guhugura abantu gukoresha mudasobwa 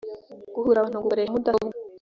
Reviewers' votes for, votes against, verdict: 1, 2, rejected